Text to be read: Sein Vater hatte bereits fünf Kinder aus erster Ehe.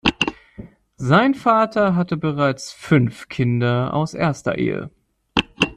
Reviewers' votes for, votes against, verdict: 2, 0, accepted